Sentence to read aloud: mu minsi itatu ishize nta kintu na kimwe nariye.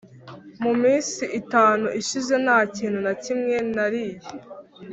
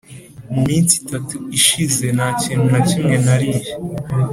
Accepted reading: second